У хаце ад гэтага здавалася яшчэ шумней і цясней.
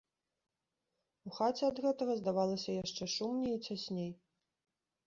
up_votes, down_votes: 1, 2